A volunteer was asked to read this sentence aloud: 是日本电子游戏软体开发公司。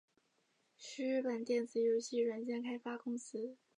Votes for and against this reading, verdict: 3, 0, accepted